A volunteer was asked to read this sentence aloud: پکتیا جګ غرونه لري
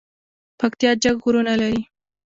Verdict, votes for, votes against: accepted, 2, 1